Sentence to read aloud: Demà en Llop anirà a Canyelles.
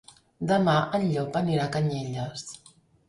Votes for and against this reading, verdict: 3, 0, accepted